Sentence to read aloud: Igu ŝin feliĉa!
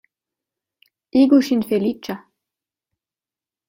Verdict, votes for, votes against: accepted, 2, 0